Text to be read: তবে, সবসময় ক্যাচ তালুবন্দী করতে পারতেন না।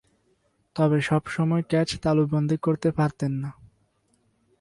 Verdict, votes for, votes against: accepted, 2, 0